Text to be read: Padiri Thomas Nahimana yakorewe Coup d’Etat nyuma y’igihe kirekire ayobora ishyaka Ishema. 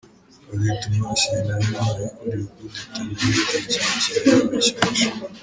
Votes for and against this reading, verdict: 1, 2, rejected